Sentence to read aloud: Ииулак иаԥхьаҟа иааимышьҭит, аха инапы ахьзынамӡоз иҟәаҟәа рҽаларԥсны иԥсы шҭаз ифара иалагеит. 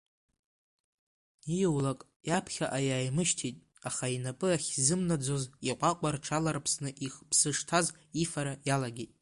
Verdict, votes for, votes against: accepted, 2, 0